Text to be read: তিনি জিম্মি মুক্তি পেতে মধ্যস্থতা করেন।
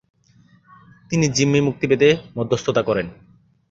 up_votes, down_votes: 5, 0